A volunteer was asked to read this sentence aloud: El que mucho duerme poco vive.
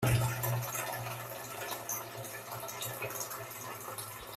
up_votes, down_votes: 0, 3